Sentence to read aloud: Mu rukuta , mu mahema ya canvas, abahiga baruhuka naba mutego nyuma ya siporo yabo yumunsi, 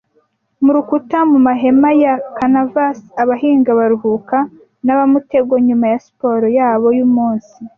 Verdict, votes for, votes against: rejected, 1, 2